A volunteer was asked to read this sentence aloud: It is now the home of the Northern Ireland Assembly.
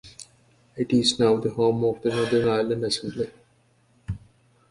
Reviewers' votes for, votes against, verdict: 2, 1, accepted